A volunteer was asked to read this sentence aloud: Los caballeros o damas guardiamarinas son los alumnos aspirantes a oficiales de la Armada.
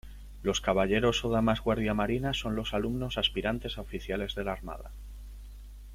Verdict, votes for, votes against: accepted, 2, 0